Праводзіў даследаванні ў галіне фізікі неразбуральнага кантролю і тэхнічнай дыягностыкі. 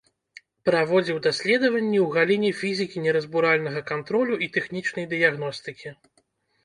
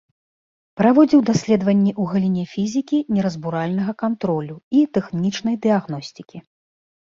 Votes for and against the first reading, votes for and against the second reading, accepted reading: 0, 2, 2, 0, second